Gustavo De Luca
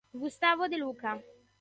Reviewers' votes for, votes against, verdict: 2, 0, accepted